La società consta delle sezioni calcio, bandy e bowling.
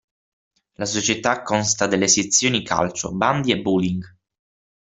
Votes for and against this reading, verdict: 6, 0, accepted